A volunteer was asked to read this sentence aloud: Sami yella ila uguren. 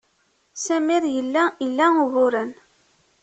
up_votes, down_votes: 1, 2